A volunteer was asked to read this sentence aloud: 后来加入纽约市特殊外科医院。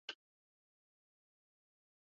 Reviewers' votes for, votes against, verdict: 0, 4, rejected